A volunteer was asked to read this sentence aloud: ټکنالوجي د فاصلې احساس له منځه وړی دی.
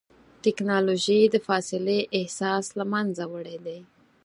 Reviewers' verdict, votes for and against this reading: accepted, 4, 0